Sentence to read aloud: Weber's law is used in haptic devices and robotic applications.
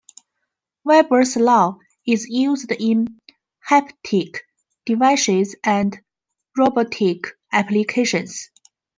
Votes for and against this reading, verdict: 2, 1, accepted